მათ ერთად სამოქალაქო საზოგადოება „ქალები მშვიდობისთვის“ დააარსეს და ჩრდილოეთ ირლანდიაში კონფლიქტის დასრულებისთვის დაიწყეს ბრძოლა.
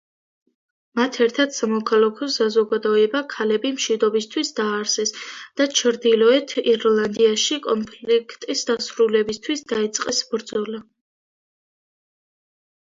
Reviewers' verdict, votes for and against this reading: rejected, 0, 2